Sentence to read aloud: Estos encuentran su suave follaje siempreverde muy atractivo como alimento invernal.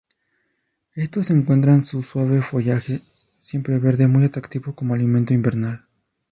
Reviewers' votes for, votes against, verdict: 0, 2, rejected